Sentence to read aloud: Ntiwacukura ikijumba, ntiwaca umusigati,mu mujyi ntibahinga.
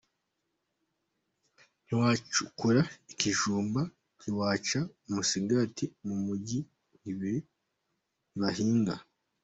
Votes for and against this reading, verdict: 2, 1, accepted